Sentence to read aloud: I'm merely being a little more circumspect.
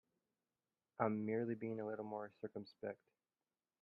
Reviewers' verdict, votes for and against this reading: accepted, 2, 0